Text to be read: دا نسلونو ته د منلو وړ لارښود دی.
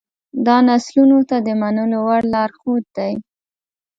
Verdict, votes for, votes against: accepted, 2, 0